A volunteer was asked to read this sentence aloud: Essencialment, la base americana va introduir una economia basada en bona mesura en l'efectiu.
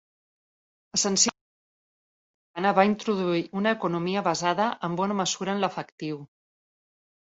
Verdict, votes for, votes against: rejected, 0, 2